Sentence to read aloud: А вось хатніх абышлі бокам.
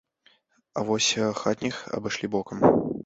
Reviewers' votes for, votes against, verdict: 2, 0, accepted